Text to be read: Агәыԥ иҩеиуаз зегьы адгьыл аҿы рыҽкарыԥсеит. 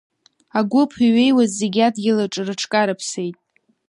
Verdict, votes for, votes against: accepted, 2, 0